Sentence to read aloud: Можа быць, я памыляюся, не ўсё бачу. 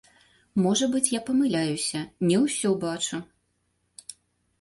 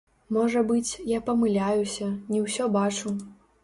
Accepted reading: first